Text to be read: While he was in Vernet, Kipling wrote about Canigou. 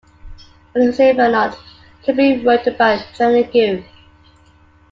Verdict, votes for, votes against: rejected, 1, 2